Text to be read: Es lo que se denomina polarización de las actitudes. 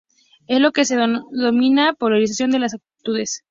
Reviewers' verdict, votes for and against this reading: rejected, 0, 2